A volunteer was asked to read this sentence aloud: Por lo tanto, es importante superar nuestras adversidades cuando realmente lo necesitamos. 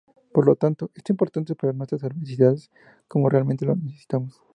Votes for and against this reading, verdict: 0, 2, rejected